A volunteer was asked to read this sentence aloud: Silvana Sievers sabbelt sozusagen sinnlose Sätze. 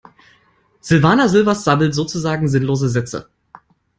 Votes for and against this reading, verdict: 2, 1, accepted